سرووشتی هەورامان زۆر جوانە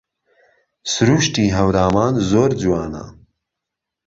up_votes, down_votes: 2, 0